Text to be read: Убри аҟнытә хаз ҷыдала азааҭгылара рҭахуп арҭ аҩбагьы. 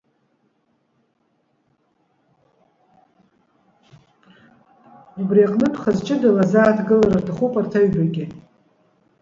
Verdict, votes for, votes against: rejected, 0, 2